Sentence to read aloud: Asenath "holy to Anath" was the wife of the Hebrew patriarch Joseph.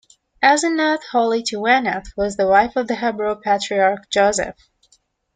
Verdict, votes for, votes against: rejected, 1, 2